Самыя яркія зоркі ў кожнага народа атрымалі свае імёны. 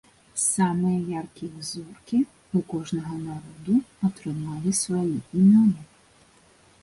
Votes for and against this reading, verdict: 0, 2, rejected